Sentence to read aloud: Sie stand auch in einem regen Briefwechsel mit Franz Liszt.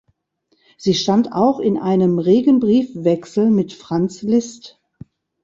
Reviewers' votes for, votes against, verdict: 1, 2, rejected